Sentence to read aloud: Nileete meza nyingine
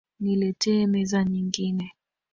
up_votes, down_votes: 1, 2